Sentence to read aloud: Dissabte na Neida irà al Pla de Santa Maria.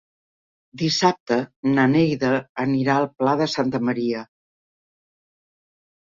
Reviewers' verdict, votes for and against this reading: rejected, 0, 2